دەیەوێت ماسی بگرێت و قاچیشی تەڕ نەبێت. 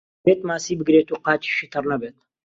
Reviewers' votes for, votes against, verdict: 0, 2, rejected